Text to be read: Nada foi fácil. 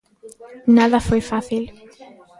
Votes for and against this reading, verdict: 1, 2, rejected